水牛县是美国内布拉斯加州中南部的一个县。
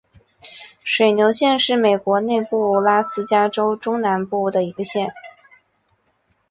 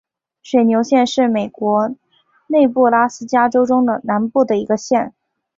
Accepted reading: first